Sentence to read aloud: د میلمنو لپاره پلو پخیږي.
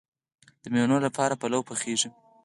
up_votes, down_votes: 2, 4